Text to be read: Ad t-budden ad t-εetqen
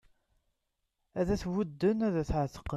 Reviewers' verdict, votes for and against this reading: accepted, 2, 0